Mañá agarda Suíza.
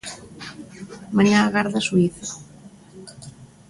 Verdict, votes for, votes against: accepted, 3, 0